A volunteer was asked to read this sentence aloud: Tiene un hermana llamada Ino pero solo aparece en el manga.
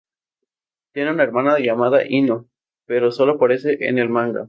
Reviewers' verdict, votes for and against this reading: rejected, 0, 2